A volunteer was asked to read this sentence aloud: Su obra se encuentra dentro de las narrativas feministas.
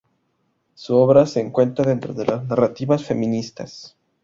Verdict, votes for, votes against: rejected, 0, 2